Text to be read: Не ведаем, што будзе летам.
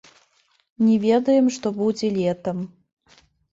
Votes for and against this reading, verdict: 2, 1, accepted